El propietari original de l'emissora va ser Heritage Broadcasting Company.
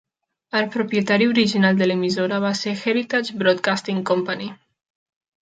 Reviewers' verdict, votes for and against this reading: accepted, 3, 0